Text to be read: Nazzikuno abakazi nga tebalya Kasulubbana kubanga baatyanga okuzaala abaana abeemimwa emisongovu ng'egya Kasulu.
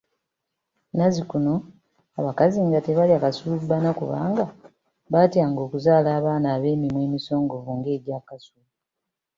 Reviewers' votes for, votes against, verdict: 2, 0, accepted